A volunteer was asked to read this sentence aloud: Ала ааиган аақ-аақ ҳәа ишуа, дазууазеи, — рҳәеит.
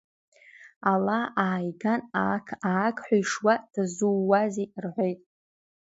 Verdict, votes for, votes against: accepted, 2, 0